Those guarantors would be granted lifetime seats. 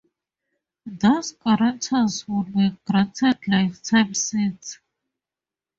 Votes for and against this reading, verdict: 2, 2, rejected